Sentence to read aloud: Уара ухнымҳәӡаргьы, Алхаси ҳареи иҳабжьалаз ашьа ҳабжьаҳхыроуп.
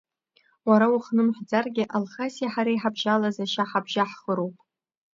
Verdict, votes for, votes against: rejected, 1, 2